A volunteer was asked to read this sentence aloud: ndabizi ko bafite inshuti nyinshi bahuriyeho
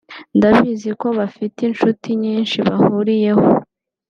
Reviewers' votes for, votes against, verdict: 2, 0, accepted